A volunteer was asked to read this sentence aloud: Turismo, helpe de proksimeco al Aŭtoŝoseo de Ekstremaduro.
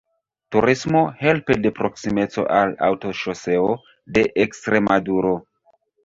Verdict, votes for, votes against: rejected, 1, 2